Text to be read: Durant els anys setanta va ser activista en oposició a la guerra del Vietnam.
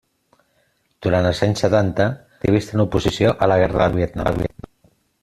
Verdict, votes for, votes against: rejected, 0, 2